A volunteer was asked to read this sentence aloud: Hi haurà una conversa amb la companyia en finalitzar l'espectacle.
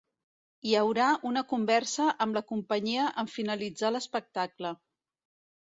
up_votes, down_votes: 2, 0